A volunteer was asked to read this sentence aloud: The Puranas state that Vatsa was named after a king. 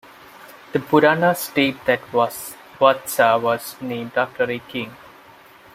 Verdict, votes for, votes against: rejected, 1, 2